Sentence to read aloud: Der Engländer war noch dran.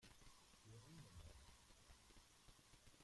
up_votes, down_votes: 0, 2